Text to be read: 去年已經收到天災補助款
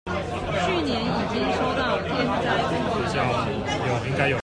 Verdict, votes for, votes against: rejected, 0, 2